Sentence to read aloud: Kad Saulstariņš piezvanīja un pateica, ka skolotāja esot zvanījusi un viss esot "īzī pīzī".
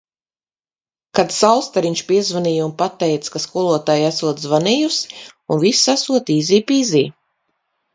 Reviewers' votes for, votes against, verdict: 2, 0, accepted